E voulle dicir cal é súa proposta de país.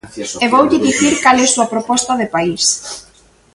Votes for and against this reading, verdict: 1, 2, rejected